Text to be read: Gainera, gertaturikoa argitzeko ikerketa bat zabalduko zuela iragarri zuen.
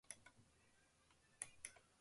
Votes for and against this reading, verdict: 0, 3, rejected